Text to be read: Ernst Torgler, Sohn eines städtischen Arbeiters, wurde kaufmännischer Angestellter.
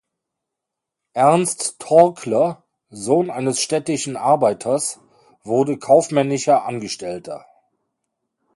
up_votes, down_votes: 1, 2